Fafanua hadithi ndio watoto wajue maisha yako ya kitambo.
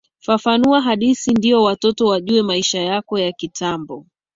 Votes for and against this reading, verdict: 2, 1, accepted